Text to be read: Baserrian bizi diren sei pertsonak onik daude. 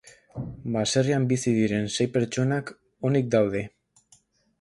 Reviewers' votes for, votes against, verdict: 2, 0, accepted